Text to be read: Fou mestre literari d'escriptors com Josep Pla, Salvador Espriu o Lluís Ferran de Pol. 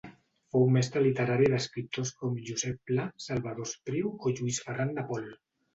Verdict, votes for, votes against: accepted, 2, 0